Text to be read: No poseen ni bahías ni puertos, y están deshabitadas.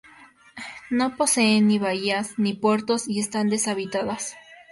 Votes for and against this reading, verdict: 2, 0, accepted